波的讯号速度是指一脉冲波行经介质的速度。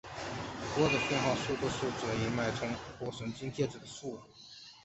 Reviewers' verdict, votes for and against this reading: rejected, 0, 3